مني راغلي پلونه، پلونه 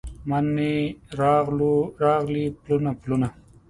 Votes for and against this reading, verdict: 2, 0, accepted